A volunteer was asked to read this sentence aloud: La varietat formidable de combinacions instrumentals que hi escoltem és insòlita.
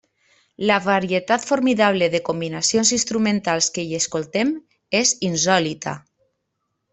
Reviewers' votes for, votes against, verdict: 3, 0, accepted